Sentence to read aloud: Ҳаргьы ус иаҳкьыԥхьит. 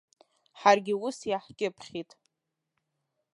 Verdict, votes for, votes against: rejected, 0, 2